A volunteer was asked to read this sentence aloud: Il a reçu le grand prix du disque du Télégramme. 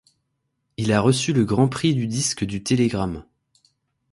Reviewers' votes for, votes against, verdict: 2, 0, accepted